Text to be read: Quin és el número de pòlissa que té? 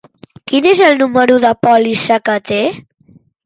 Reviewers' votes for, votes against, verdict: 3, 0, accepted